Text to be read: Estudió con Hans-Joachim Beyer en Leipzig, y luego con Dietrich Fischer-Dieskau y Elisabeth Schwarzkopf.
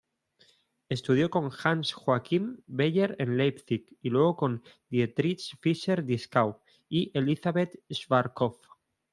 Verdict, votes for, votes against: rejected, 1, 2